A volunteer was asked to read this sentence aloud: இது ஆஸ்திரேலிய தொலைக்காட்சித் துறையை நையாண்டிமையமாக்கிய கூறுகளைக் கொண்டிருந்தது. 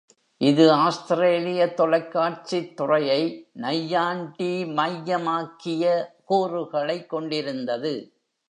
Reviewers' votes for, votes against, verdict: 2, 0, accepted